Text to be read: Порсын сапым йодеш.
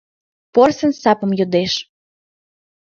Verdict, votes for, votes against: accepted, 2, 0